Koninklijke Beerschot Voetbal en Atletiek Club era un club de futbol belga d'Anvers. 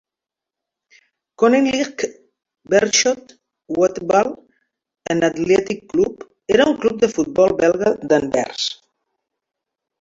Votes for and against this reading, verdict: 1, 2, rejected